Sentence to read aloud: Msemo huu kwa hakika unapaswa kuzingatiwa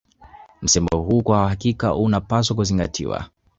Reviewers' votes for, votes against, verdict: 0, 2, rejected